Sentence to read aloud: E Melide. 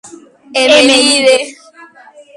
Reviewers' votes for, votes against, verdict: 0, 2, rejected